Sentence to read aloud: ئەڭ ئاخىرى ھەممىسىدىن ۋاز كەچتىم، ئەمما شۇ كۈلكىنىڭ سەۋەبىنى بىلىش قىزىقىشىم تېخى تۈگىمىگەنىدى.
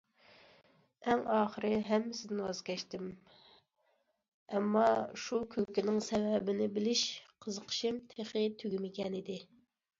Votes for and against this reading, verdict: 2, 0, accepted